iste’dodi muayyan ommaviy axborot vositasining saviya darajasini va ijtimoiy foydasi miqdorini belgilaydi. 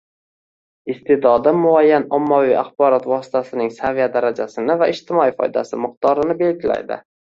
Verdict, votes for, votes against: rejected, 0, 2